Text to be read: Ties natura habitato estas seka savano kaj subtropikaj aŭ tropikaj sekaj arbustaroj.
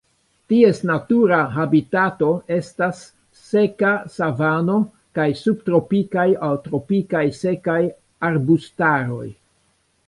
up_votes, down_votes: 2, 1